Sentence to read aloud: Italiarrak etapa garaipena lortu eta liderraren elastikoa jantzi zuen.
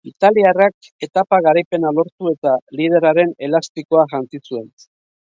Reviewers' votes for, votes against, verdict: 2, 0, accepted